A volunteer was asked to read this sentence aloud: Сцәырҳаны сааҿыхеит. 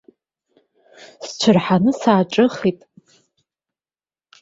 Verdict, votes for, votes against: accepted, 2, 0